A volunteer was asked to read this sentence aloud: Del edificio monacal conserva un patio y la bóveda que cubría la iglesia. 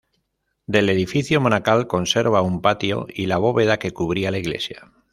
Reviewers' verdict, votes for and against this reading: accepted, 2, 1